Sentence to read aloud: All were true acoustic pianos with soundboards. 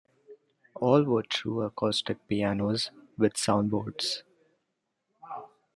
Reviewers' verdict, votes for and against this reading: rejected, 0, 2